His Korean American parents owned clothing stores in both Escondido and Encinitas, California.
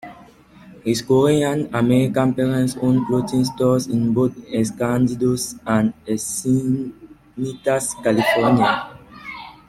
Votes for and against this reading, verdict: 0, 2, rejected